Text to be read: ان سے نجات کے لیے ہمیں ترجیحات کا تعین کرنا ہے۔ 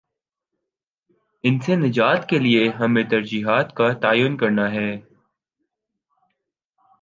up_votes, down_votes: 4, 0